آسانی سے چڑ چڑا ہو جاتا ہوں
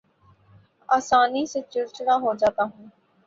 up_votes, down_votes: 2, 0